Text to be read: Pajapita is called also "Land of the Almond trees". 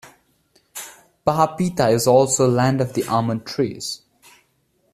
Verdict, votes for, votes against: rejected, 1, 2